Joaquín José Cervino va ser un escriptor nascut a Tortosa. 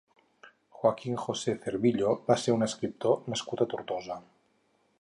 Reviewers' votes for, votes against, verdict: 0, 4, rejected